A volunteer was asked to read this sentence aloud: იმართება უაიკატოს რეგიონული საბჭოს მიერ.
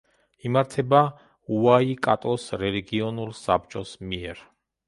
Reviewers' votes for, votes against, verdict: 0, 2, rejected